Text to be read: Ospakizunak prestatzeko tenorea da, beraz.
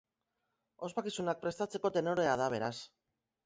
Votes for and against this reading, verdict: 2, 0, accepted